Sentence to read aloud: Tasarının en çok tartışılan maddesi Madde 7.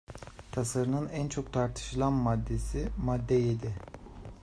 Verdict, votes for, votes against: rejected, 0, 2